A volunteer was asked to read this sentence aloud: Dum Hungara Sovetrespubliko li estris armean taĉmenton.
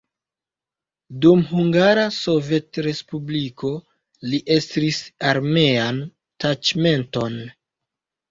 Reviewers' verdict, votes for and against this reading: rejected, 1, 2